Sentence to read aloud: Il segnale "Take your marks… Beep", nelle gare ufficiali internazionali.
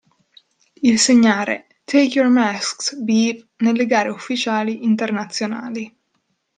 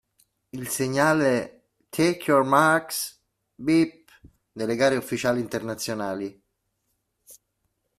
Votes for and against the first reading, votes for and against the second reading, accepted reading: 0, 2, 2, 0, second